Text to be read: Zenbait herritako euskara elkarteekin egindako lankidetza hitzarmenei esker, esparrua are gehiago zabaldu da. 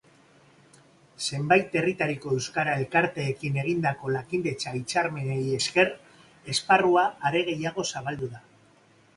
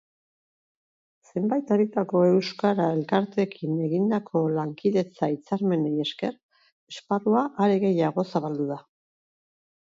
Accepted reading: second